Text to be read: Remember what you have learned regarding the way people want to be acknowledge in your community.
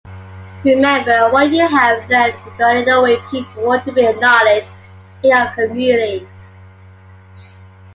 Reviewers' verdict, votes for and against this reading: accepted, 2, 0